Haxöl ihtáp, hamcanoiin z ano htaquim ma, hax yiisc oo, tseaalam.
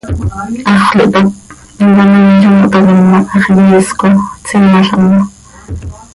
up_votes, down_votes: 1, 2